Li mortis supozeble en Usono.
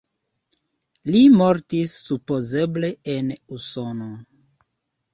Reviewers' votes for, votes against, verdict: 2, 0, accepted